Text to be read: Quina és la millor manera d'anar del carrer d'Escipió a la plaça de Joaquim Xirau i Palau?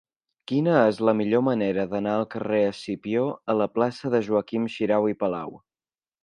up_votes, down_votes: 2, 3